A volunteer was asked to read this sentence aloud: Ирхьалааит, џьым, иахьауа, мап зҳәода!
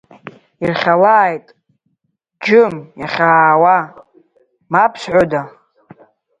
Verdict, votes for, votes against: rejected, 0, 2